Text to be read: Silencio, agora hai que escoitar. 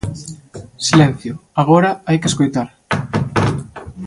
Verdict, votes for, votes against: accepted, 2, 0